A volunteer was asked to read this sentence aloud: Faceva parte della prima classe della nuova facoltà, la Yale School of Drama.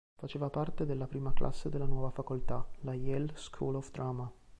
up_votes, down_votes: 3, 0